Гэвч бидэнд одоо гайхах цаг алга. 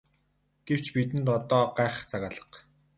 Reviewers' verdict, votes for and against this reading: accepted, 4, 0